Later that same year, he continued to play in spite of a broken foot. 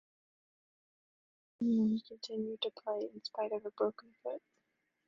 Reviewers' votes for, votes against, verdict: 0, 2, rejected